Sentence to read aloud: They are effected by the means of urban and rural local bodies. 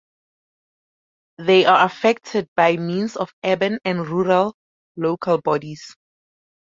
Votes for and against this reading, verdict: 2, 2, rejected